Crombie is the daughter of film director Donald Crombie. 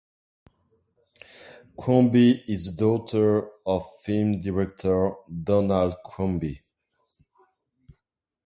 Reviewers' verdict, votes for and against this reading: rejected, 0, 2